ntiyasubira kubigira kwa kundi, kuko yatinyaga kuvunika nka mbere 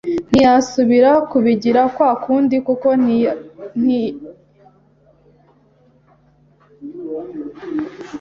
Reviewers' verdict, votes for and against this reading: rejected, 0, 2